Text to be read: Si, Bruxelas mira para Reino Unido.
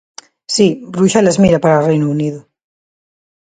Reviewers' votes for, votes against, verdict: 2, 0, accepted